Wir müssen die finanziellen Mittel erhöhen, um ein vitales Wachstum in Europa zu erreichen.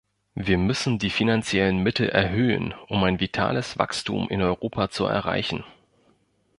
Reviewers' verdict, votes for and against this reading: accepted, 2, 0